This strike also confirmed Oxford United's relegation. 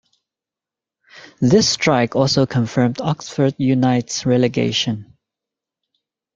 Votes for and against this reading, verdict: 0, 2, rejected